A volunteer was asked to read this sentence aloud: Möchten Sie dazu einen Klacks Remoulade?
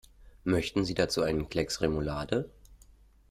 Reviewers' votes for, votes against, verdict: 1, 2, rejected